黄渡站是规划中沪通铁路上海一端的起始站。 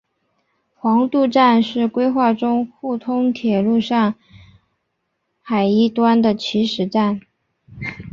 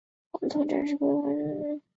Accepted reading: first